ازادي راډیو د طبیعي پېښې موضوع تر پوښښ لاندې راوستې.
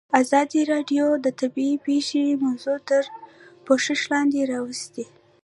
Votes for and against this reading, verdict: 1, 2, rejected